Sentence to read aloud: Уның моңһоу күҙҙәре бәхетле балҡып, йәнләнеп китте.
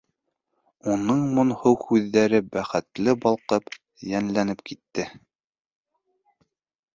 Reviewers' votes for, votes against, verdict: 2, 0, accepted